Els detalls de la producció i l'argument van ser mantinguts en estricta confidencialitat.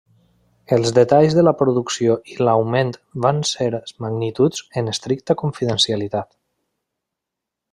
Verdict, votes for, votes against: rejected, 0, 2